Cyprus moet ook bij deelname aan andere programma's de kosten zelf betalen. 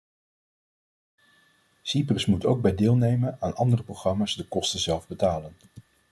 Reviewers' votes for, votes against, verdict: 0, 2, rejected